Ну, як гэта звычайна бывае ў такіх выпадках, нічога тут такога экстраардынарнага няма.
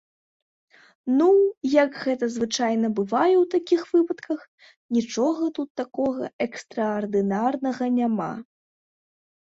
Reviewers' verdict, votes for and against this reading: accepted, 2, 0